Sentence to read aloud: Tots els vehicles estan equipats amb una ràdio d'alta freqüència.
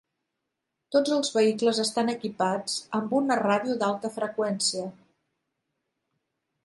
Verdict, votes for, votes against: accepted, 3, 0